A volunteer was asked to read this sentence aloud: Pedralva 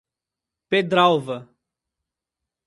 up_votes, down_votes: 2, 0